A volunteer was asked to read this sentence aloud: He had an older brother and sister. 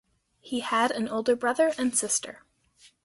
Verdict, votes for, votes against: accepted, 2, 0